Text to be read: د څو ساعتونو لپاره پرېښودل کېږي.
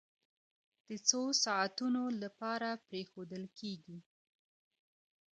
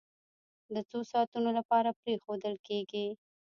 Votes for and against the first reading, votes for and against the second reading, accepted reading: 2, 0, 0, 2, first